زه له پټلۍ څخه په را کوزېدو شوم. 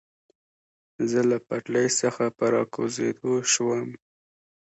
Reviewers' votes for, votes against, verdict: 2, 0, accepted